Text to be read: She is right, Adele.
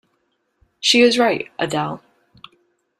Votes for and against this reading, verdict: 2, 0, accepted